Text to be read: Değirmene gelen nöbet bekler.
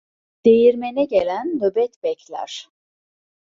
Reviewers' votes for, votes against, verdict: 2, 0, accepted